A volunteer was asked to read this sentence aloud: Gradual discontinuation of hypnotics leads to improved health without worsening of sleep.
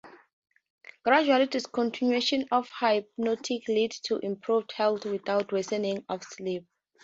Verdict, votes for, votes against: rejected, 0, 2